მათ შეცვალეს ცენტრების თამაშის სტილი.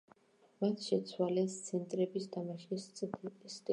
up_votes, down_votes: 1, 2